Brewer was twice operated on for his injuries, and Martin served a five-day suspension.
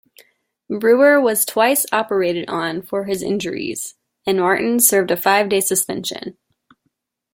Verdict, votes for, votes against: accepted, 2, 0